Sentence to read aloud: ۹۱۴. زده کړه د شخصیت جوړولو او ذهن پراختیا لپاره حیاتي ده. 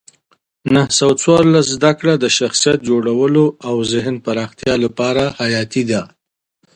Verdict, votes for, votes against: rejected, 0, 2